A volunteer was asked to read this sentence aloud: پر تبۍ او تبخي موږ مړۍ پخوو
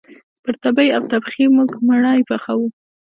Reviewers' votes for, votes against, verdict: 2, 1, accepted